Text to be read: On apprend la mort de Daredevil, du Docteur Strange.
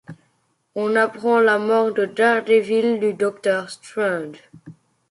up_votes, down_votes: 2, 0